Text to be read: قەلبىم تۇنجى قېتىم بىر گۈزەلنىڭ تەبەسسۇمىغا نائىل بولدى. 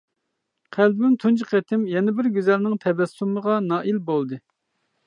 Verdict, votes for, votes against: rejected, 0, 2